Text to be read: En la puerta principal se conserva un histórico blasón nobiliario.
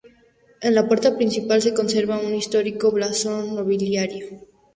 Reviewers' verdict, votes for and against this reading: accepted, 4, 0